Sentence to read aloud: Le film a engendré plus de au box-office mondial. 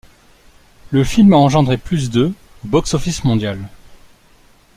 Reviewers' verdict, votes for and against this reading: rejected, 1, 2